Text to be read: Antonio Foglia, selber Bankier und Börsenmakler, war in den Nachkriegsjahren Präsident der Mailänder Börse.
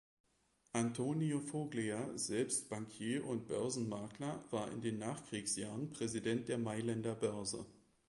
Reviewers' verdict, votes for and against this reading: rejected, 0, 2